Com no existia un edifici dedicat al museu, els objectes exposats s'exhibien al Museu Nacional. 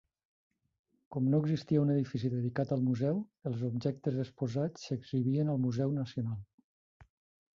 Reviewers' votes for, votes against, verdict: 3, 0, accepted